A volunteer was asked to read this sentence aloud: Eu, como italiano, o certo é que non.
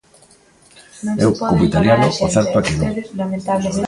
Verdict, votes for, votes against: rejected, 0, 2